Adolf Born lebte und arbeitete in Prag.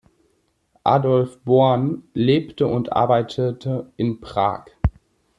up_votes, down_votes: 2, 0